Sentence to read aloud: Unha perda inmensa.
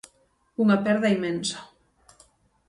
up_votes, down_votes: 6, 0